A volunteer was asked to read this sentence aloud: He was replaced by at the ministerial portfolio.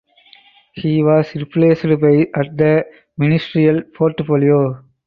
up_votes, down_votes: 0, 2